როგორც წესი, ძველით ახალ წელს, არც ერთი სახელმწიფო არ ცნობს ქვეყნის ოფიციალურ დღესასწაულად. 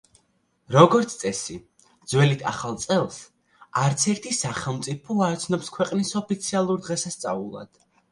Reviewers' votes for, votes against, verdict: 3, 0, accepted